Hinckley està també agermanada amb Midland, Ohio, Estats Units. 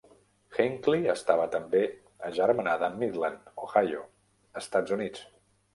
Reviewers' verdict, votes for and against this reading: rejected, 0, 2